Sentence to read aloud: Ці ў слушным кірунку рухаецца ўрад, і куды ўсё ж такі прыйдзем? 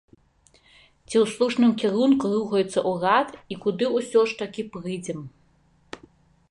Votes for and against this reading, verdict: 1, 2, rejected